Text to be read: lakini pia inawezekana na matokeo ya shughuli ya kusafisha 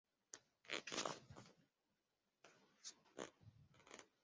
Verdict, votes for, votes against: rejected, 0, 2